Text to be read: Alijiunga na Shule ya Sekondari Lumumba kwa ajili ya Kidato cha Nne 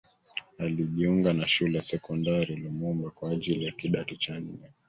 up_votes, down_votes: 3, 1